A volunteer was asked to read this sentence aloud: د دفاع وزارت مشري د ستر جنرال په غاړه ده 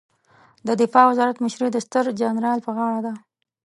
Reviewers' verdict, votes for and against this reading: accepted, 2, 0